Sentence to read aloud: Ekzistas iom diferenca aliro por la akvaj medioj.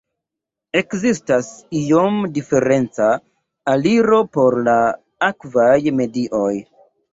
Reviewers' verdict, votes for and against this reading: rejected, 0, 2